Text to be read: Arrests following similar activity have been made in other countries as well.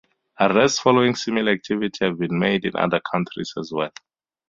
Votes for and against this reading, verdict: 2, 2, rejected